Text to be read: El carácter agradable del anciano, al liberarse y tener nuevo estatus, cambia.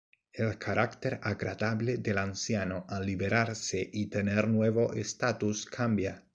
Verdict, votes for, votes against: accepted, 2, 0